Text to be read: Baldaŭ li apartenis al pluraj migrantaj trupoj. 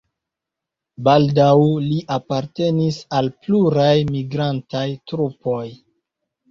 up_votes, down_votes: 2, 1